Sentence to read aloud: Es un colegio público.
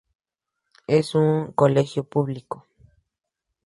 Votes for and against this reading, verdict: 2, 0, accepted